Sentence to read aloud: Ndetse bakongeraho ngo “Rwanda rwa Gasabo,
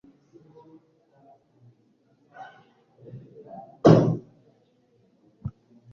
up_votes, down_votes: 1, 2